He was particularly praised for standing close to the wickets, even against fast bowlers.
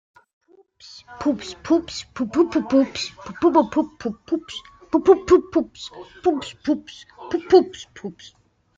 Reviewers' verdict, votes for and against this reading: rejected, 0, 2